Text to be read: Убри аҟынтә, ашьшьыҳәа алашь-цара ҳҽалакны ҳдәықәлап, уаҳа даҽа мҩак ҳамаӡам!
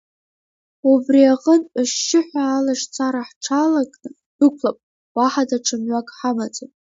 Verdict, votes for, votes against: accepted, 2, 0